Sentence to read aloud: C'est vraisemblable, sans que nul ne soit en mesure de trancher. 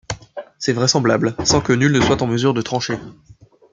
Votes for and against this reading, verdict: 2, 1, accepted